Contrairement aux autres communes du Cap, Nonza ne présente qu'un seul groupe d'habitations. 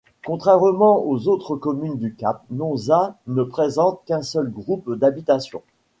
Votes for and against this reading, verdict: 2, 0, accepted